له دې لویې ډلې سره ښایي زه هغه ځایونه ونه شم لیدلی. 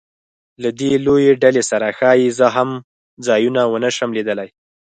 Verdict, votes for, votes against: rejected, 2, 4